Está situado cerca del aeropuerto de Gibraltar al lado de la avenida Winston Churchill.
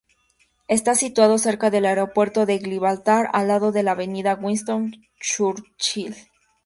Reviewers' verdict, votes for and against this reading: accepted, 2, 0